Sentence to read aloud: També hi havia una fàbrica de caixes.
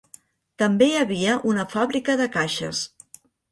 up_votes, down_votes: 4, 0